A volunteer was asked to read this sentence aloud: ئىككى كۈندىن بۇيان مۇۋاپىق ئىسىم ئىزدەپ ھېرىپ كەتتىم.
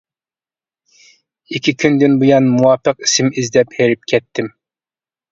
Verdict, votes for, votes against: accepted, 2, 0